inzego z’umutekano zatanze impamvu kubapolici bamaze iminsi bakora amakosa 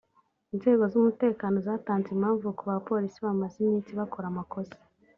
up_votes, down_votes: 2, 0